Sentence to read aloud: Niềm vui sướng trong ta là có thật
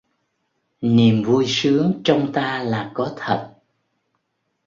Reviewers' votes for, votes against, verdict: 2, 0, accepted